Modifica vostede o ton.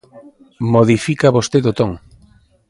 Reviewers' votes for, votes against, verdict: 2, 0, accepted